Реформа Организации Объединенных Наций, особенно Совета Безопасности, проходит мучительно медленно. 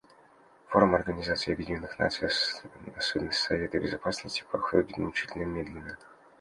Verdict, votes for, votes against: rejected, 0, 2